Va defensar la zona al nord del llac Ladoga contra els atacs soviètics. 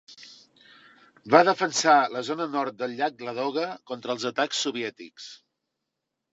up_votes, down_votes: 0, 2